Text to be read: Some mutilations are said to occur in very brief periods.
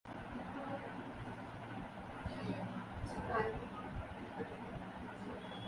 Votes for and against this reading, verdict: 0, 2, rejected